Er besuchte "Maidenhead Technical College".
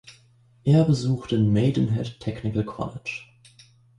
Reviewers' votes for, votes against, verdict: 2, 0, accepted